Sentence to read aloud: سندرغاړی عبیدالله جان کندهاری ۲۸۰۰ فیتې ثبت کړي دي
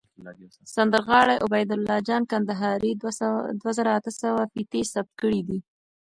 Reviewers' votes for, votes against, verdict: 0, 2, rejected